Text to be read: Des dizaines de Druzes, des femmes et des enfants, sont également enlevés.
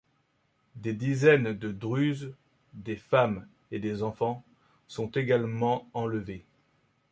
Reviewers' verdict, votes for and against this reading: accepted, 2, 0